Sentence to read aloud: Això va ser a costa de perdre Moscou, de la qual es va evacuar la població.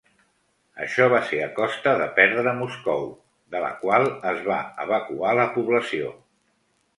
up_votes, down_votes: 2, 0